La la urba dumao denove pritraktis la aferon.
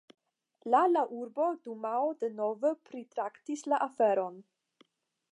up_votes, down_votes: 5, 0